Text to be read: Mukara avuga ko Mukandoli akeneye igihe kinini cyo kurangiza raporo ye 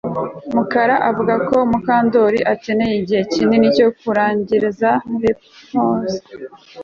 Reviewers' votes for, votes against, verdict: 1, 2, rejected